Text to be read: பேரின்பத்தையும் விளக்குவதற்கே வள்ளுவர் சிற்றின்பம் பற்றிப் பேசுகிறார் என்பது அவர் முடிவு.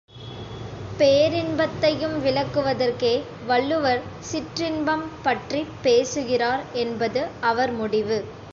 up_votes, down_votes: 2, 0